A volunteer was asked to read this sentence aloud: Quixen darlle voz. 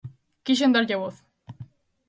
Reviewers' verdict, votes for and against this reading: accepted, 2, 0